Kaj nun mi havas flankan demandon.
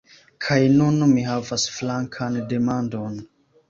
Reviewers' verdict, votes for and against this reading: accepted, 2, 0